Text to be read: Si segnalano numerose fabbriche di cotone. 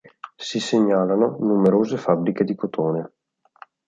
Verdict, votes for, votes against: accepted, 2, 0